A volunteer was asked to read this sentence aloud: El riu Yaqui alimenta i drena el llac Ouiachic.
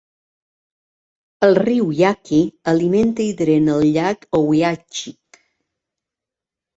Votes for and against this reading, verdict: 2, 0, accepted